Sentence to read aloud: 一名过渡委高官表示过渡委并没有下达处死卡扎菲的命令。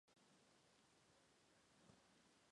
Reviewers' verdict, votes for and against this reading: rejected, 0, 5